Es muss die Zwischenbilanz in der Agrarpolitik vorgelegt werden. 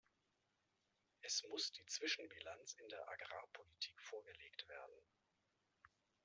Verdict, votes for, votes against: rejected, 1, 2